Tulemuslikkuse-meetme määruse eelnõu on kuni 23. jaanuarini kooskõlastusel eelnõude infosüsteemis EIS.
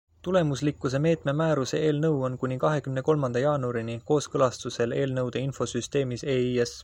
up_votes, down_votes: 0, 2